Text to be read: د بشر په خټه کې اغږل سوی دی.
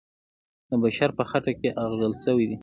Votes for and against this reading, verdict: 2, 1, accepted